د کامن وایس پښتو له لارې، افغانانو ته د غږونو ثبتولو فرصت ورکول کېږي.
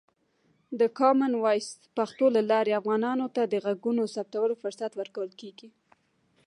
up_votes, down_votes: 0, 2